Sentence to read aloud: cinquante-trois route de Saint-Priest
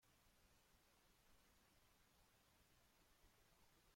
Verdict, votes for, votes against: rejected, 1, 2